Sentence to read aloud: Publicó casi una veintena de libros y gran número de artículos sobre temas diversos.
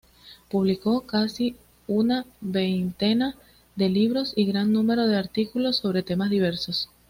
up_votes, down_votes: 2, 0